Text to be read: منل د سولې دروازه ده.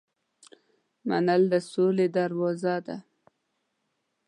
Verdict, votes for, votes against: accepted, 2, 0